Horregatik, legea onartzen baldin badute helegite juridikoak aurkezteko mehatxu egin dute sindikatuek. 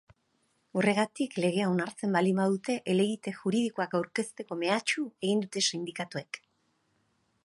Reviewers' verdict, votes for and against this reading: accepted, 2, 0